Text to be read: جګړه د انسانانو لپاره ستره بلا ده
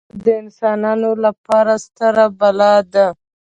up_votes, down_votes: 0, 2